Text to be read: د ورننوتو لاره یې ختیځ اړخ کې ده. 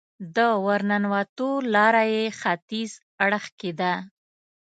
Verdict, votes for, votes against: accepted, 2, 0